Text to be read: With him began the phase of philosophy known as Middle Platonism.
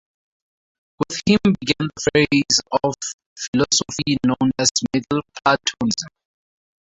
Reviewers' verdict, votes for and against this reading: rejected, 2, 2